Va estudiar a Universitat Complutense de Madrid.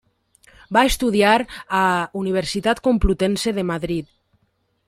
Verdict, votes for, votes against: rejected, 1, 2